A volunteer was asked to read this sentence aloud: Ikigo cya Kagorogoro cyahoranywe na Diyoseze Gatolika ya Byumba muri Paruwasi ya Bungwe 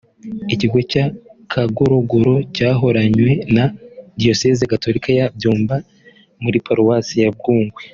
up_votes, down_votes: 2, 0